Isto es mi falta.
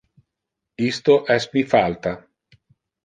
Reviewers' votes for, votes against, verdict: 1, 2, rejected